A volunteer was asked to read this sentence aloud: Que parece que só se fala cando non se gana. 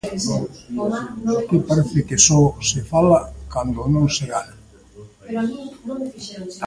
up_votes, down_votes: 1, 3